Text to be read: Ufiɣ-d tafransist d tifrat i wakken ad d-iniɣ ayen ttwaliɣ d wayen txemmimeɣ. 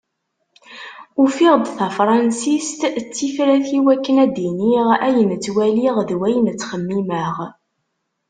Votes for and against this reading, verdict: 2, 0, accepted